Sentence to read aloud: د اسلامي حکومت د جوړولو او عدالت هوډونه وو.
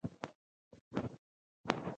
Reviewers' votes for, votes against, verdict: 1, 3, rejected